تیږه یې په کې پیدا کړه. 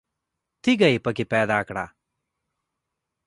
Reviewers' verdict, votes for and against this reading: accepted, 2, 0